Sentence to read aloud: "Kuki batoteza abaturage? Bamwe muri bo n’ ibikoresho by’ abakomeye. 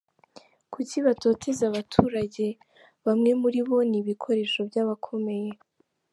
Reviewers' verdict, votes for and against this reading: accepted, 2, 0